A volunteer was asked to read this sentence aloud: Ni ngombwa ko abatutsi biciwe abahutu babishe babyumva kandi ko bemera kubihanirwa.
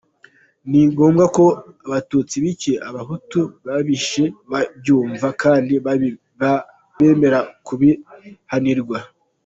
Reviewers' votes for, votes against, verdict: 0, 2, rejected